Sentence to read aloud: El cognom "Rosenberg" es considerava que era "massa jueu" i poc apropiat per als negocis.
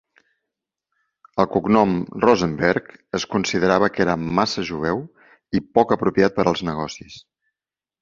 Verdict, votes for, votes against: accepted, 3, 0